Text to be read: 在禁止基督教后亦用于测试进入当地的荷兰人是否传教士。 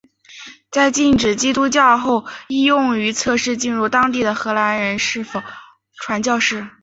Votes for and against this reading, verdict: 7, 0, accepted